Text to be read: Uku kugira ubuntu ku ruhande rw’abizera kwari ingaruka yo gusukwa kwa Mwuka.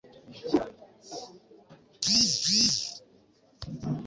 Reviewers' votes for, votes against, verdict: 1, 2, rejected